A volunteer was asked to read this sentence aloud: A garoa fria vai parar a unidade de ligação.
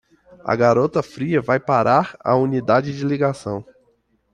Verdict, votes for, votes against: rejected, 0, 2